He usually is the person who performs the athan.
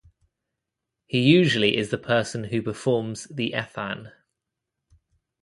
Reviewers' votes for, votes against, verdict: 2, 0, accepted